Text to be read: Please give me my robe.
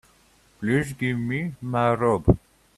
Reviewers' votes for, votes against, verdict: 3, 1, accepted